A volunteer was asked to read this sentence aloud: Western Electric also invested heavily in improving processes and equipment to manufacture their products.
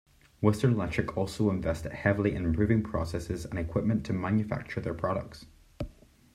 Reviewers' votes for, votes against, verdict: 2, 0, accepted